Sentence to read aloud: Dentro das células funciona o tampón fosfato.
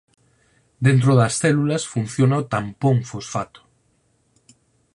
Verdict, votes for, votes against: accepted, 4, 0